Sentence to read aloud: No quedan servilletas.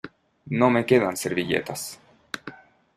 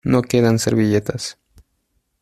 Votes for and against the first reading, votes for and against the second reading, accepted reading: 1, 2, 2, 0, second